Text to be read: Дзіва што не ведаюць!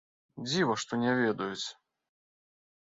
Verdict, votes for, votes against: accepted, 2, 0